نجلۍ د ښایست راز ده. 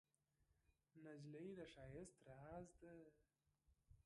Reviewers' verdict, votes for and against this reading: rejected, 0, 2